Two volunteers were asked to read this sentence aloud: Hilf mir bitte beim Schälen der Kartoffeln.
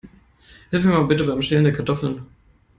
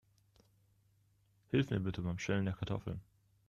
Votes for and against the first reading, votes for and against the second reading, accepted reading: 1, 2, 2, 0, second